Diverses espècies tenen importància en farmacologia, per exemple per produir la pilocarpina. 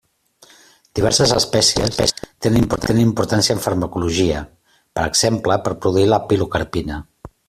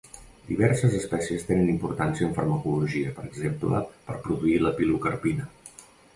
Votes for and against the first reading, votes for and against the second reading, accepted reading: 0, 2, 2, 0, second